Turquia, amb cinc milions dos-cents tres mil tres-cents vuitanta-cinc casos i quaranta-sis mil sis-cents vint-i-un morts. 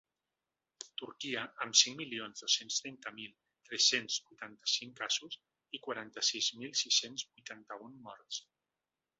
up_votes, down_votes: 0, 2